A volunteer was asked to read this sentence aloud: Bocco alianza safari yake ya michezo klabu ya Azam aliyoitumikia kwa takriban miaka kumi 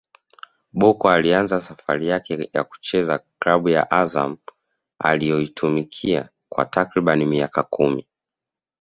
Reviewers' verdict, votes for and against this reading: accepted, 2, 0